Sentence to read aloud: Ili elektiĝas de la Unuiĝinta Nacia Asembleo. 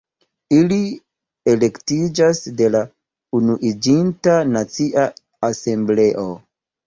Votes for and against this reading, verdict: 2, 1, accepted